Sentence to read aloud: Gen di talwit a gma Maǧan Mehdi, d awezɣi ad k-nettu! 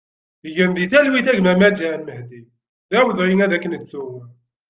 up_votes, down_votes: 0, 2